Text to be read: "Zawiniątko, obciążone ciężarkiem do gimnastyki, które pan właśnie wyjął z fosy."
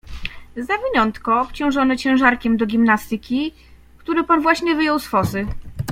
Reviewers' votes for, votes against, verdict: 2, 0, accepted